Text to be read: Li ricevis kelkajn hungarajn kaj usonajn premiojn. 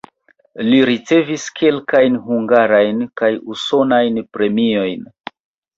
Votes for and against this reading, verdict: 1, 2, rejected